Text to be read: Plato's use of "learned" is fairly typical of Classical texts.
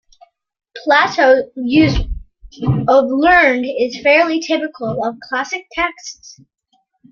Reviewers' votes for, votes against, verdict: 2, 1, accepted